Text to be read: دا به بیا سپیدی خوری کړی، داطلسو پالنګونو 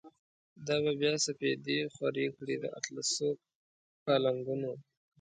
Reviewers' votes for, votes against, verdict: 1, 2, rejected